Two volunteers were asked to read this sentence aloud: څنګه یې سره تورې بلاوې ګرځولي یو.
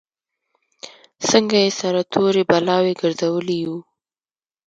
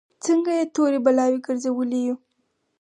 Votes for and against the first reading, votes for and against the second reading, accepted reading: 2, 0, 0, 4, first